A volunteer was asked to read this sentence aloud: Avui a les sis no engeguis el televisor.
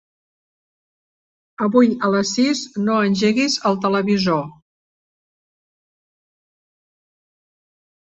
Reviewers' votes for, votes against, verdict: 4, 0, accepted